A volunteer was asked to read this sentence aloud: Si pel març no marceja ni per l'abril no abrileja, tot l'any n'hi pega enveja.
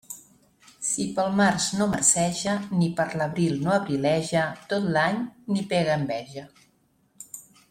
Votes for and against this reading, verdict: 2, 0, accepted